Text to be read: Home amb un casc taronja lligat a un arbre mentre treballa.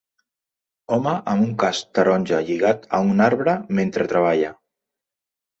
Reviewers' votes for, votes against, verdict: 2, 0, accepted